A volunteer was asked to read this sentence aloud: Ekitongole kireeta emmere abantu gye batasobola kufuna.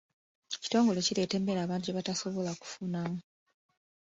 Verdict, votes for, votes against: accepted, 2, 1